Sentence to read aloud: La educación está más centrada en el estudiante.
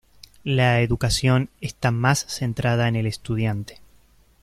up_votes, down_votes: 2, 0